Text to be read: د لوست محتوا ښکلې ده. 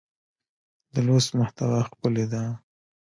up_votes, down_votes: 2, 1